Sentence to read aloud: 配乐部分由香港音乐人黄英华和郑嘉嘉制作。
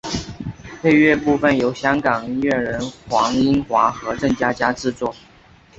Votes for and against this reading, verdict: 4, 0, accepted